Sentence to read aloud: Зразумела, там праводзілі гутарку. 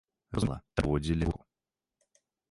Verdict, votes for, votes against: rejected, 0, 2